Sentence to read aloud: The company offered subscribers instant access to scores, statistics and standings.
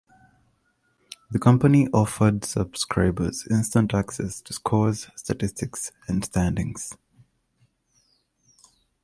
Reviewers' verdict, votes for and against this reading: accepted, 2, 0